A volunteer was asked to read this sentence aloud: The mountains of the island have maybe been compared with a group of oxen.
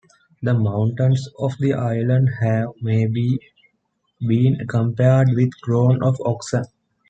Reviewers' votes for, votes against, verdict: 1, 2, rejected